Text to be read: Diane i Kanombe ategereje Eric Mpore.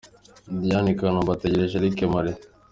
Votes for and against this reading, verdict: 3, 0, accepted